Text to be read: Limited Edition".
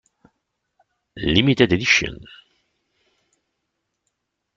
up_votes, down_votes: 0, 2